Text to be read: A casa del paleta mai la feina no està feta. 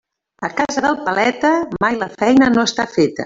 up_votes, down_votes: 1, 2